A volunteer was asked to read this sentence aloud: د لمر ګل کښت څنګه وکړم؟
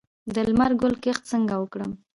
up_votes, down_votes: 1, 2